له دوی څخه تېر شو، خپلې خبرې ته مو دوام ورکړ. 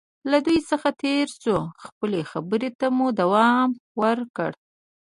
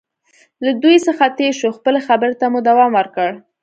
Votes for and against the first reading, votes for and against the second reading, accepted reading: 1, 2, 2, 0, second